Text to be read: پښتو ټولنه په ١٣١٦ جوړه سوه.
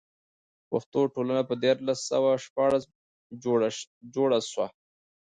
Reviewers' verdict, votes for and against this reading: rejected, 0, 2